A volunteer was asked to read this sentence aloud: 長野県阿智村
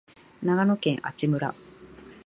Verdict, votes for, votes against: accepted, 2, 0